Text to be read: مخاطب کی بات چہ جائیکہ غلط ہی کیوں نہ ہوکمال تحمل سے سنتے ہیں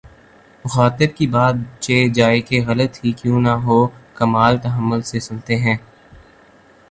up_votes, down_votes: 3, 0